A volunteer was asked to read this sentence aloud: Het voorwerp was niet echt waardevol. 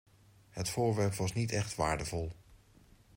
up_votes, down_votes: 2, 0